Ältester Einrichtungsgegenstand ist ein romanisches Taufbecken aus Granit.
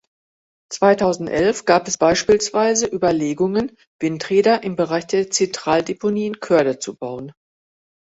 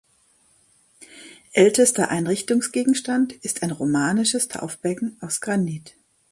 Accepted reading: second